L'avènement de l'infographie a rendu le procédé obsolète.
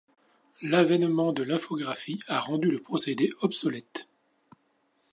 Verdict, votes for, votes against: accepted, 3, 0